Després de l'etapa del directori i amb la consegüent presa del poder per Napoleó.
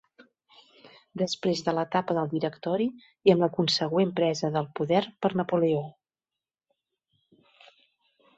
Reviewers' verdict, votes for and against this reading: accepted, 4, 0